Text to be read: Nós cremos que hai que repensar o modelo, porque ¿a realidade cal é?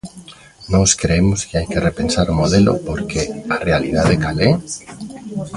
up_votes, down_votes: 1, 2